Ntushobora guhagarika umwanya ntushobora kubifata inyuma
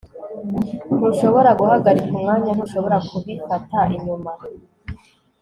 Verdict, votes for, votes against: accepted, 2, 1